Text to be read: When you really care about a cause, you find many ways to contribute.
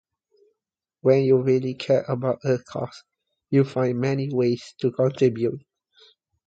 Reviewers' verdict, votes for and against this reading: accepted, 2, 0